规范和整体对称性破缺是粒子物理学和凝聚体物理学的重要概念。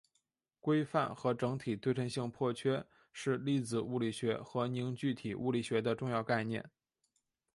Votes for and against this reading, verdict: 2, 0, accepted